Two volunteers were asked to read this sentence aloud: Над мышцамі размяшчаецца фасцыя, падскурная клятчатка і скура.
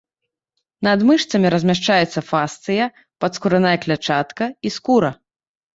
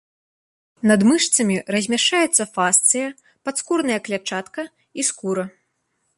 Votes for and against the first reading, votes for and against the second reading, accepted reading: 1, 2, 2, 0, second